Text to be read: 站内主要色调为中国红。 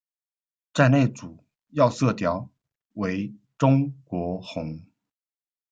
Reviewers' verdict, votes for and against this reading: rejected, 1, 2